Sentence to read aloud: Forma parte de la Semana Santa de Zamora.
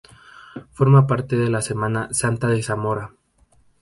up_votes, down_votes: 0, 2